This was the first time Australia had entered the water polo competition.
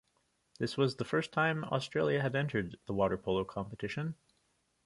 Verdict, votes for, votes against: accepted, 2, 0